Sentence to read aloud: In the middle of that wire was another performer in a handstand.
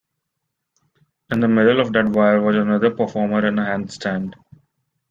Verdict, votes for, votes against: rejected, 0, 2